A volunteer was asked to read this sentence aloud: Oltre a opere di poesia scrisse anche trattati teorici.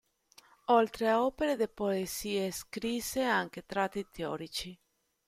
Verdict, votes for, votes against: rejected, 0, 2